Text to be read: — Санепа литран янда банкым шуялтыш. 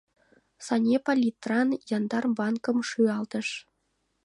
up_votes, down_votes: 0, 2